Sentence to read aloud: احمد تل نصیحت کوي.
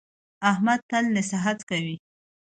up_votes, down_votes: 2, 0